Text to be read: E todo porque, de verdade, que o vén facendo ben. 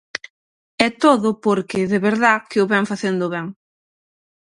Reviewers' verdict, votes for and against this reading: rejected, 0, 6